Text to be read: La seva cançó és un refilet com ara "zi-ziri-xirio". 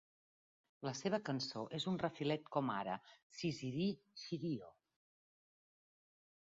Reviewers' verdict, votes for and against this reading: accepted, 2, 0